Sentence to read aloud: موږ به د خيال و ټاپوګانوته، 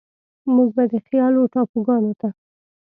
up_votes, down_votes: 2, 0